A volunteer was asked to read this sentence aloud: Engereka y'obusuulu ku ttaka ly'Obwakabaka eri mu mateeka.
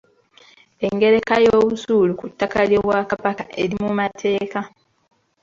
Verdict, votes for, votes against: accepted, 2, 1